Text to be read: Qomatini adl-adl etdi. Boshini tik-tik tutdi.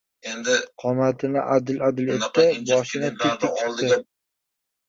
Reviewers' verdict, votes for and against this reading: rejected, 1, 2